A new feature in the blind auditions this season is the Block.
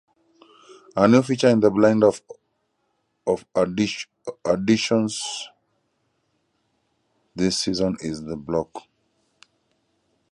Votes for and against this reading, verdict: 0, 2, rejected